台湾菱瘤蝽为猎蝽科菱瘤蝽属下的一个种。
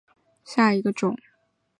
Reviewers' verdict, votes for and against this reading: rejected, 0, 4